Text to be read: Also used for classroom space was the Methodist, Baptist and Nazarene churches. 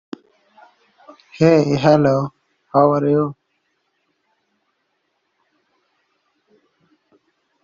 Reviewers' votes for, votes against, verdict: 0, 2, rejected